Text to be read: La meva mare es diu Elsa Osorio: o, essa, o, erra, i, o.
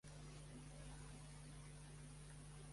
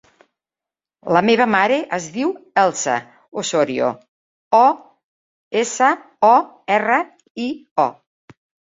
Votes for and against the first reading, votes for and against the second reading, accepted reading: 1, 2, 4, 0, second